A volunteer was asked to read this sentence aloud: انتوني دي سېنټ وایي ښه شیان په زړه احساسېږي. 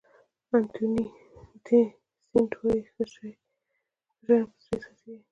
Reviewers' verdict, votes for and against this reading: rejected, 1, 2